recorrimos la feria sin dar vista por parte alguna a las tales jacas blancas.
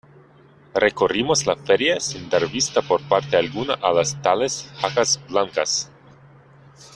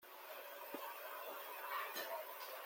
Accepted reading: first